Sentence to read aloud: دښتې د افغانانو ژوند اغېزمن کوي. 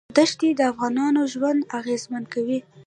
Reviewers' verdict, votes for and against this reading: rejected, 0, 2